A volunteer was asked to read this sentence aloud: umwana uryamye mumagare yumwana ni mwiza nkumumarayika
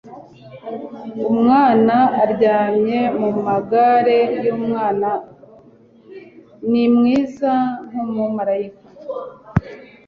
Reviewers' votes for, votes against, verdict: 3, 0, accepted